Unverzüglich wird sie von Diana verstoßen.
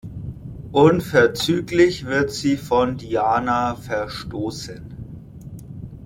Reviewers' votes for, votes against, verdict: 2, 0, accepted